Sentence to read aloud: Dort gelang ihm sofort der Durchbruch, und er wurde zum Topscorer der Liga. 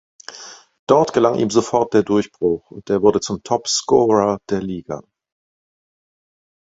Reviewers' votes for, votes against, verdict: 2, 0, accepted